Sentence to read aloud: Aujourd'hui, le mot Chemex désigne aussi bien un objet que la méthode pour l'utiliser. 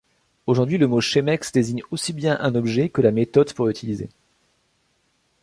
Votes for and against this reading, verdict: 1, 2, rejected